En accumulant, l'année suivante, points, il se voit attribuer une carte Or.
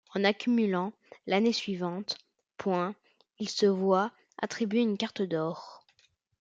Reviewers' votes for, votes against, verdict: 0, 2, rejected